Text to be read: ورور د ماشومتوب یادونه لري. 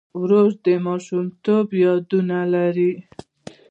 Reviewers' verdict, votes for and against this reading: accepted, 2, 0